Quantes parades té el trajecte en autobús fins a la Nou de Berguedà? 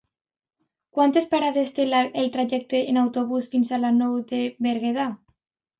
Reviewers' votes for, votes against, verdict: 2, 1, accepted